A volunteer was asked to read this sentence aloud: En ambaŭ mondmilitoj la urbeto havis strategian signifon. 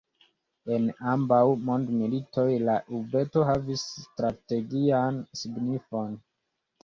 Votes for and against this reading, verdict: 2, 0, accepted